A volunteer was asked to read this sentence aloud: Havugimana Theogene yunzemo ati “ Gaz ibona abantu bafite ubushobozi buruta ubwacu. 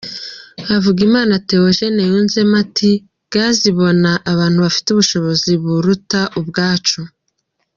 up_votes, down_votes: 2, 0